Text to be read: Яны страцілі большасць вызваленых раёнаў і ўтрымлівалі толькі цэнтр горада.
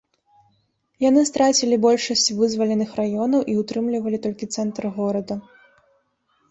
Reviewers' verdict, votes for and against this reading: accepted, 2, 1